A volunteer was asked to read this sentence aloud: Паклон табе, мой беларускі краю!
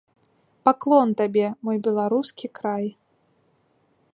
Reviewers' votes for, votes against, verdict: 0, 2, rejected